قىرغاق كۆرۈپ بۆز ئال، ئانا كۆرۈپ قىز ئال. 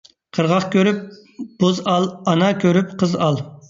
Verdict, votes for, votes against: accepted, 2, 1